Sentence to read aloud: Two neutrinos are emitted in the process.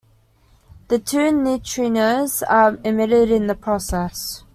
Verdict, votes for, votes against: rejected, 0, 2